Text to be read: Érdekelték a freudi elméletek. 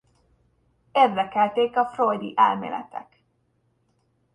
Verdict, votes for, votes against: rejected, 0, 2